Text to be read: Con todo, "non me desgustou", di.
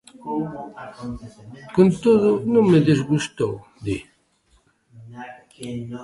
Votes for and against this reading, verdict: 1, 2, rejected